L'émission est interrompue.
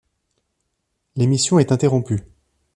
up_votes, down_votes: 2, 0